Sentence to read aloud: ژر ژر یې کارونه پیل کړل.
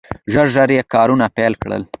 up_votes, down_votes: 2, 0